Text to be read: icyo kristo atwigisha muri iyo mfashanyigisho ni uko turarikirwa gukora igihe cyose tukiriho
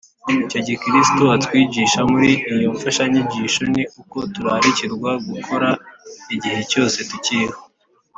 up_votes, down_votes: 5, 0